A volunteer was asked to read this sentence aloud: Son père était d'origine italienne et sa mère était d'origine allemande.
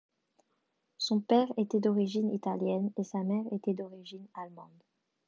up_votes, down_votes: 2, 0